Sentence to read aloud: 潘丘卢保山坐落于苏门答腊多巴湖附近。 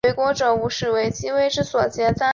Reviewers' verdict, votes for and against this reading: rejected, 0, 2